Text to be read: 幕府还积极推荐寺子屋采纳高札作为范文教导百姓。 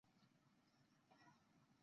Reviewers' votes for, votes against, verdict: 0, 3, rejected